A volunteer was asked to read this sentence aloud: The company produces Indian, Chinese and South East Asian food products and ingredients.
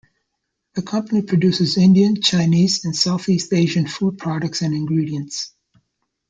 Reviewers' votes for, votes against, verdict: 2, 0, accepted